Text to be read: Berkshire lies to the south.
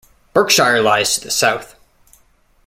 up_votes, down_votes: 2, 1